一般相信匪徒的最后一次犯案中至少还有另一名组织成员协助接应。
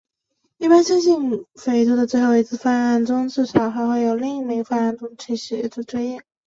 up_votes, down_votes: 0, 4